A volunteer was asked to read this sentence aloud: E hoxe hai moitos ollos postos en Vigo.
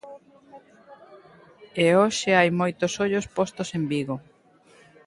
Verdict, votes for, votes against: accepted, 2, 0